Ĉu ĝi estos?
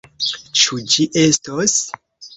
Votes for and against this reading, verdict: 2, 0, accepted